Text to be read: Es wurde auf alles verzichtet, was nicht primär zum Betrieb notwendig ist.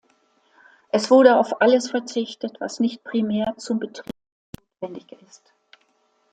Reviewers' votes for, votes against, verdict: 1, 2, rejected